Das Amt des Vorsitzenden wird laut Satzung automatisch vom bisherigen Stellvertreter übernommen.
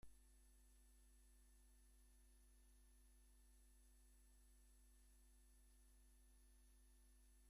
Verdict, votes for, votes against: rejected, 0, 2